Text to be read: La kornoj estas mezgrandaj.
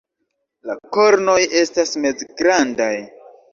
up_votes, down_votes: 2, 0